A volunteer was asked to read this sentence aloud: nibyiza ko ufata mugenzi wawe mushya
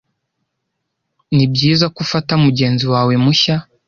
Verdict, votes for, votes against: accepted, 2, 0